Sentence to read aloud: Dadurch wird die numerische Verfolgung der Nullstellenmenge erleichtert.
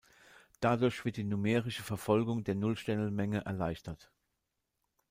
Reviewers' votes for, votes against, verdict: 0, 2, rejected